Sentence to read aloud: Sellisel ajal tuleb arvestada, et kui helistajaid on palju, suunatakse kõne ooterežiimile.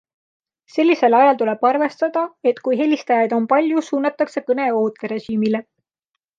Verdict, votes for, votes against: accepted, 2, 0